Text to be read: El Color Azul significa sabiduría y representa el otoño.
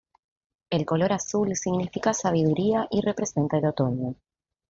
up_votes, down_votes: 2, 0